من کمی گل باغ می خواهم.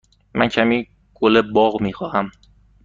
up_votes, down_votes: 2, 0